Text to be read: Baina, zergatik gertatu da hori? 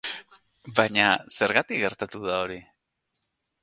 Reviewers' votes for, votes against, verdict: 6, 0, accepted